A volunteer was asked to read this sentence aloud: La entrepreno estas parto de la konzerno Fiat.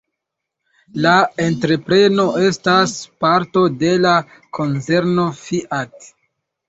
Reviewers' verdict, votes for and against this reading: rejected, 0, 2